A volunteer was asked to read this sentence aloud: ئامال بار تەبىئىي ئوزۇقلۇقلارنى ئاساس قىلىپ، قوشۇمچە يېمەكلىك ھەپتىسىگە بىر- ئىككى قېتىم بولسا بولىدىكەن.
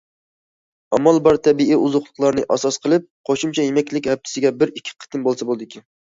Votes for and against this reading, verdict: 2, 0, accepted